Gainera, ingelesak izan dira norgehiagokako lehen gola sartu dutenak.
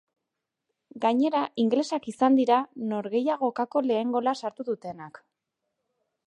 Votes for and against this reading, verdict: 3, 1, accepted